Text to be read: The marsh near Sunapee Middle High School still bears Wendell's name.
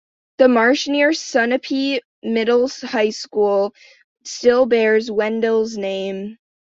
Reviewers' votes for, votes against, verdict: 0, 2, rejected